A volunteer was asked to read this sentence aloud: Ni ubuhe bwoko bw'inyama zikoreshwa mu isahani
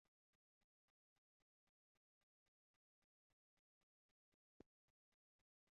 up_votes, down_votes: 0, 2